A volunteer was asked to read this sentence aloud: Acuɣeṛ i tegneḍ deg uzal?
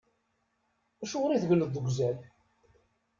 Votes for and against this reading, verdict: 2, 0, accepted